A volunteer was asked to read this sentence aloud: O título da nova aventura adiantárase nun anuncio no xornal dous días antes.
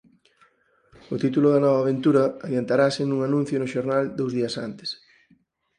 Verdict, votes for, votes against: accepted, 4, 0